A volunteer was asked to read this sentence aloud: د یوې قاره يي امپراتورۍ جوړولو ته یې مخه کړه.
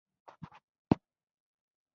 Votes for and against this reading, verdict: 0, 2, rejected